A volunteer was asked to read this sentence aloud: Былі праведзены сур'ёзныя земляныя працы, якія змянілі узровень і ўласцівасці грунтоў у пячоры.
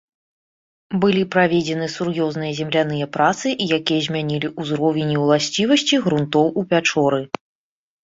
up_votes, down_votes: 2, 0